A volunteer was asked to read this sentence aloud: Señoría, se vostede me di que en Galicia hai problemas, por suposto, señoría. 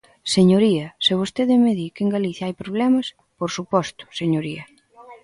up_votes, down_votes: 1, 2